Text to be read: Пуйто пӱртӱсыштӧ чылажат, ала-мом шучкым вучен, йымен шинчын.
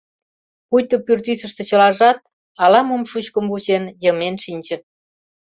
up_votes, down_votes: 1, 2